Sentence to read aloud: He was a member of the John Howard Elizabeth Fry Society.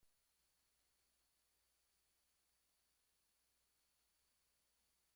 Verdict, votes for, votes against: rejected, 1, 2